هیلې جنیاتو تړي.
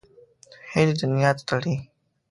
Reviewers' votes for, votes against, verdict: 1, 2, rejected